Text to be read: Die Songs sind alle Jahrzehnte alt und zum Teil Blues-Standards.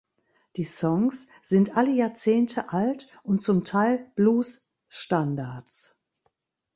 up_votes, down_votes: 2, 0